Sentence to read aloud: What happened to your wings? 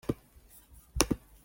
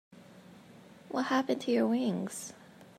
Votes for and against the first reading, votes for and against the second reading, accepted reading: 0, 2, 2, 0, second